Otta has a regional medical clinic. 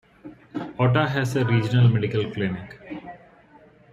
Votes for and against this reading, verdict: 2, 0, accepted